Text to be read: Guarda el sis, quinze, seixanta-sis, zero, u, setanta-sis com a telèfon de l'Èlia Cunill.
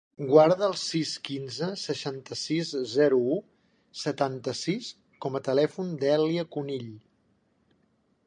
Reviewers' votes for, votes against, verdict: 1, 2, rejected